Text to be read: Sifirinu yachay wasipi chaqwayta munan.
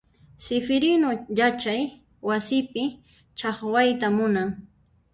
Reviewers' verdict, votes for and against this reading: rejected, 0, 2